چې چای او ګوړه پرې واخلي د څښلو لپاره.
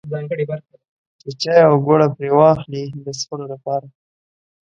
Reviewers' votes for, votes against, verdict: 2, 0, accepted